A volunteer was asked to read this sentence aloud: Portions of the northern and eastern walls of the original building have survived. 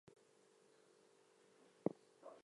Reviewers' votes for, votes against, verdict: 0, 4, rejected